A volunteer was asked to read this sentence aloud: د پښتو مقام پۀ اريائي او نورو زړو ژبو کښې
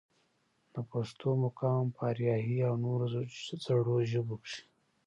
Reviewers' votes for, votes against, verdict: 0, 2, rejected